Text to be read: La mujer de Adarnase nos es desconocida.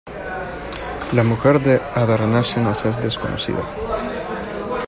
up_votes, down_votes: 0, 2